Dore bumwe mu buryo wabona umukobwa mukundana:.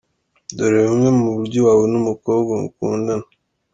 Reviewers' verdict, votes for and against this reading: accepted, 2, 0